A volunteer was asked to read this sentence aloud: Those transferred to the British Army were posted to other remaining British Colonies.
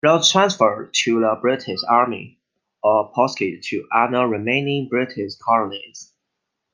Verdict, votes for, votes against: rejected, 0, 2